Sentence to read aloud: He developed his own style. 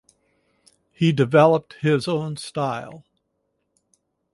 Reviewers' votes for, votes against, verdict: 4, 0, accepted